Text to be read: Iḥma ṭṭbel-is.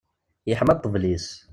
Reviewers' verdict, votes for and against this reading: accepted, 2, 0